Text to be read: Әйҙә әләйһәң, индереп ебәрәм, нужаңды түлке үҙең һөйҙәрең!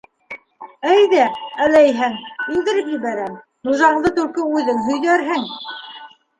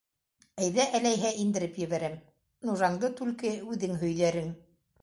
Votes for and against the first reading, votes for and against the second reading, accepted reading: 0, 2, 2, 0, second